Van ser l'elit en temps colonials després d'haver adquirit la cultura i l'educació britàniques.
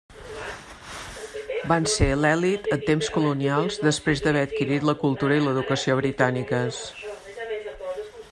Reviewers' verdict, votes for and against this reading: rejected, 1, 2